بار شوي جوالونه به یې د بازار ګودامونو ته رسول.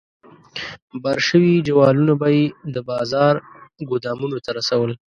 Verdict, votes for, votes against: accepted, 2, 0